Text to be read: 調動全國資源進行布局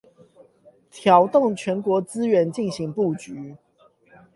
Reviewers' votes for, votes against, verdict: 0, 8, rejected